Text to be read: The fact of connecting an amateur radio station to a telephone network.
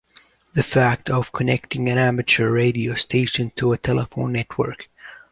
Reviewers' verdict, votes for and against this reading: accepted, 2, 0